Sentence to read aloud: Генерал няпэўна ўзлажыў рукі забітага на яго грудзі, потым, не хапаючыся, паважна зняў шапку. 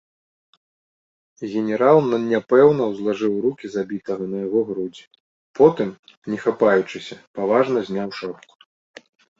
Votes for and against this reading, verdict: 0, 2, rejected